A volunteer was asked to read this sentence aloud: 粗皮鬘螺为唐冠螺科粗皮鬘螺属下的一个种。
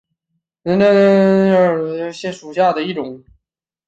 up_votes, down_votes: 0, 2